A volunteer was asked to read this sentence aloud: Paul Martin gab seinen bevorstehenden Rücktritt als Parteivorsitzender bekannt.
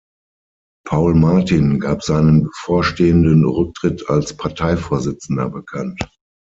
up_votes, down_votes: 6, 0